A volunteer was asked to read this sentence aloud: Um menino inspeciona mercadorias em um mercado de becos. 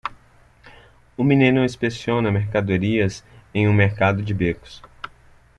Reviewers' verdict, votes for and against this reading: accepted, 2, 0